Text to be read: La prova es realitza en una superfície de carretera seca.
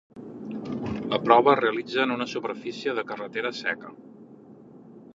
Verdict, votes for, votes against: accepted, 3, 1